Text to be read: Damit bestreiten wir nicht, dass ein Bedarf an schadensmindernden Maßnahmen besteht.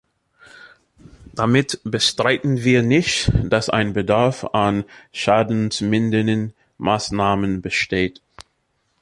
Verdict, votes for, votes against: accepted, 2, 0